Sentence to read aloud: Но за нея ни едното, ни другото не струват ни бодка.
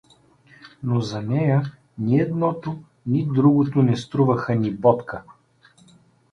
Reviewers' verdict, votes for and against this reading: rejected, 0, 2